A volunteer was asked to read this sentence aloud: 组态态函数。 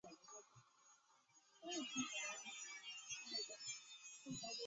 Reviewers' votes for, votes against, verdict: 1, 2, rejected